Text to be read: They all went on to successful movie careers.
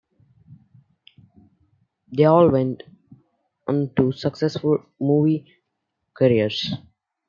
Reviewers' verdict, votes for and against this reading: accepted, 2, 0